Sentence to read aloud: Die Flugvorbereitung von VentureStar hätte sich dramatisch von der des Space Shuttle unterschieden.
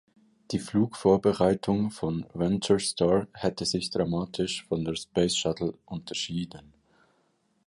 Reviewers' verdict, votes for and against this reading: rejected, 1, 3